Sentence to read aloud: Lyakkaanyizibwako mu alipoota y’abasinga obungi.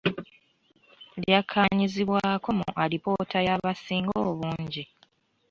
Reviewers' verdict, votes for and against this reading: rejected, 1, 2